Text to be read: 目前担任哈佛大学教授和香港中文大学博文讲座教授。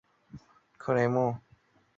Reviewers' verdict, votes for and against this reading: rejected, 0, 2